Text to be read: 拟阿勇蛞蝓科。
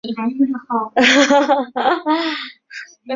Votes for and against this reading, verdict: 0, 2, rejected